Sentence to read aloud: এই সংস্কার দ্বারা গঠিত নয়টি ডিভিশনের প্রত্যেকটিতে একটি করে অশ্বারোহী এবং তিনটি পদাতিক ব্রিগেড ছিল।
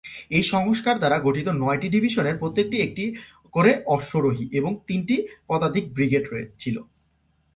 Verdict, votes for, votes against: rejected, 0, 2